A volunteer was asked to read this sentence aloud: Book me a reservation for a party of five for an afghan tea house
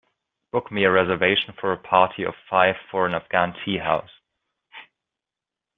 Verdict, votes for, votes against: accepted, 2, 0